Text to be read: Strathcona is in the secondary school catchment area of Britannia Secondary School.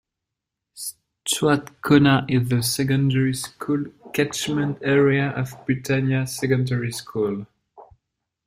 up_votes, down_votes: 0, 2